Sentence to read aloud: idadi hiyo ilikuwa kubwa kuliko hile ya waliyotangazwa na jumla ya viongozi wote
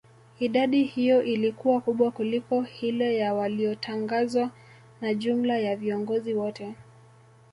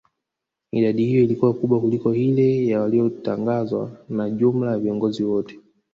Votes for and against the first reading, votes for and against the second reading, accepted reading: 2, 0, 1, 2, first